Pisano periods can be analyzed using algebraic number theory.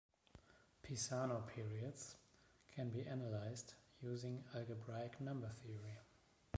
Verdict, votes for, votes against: rejected, 1, 2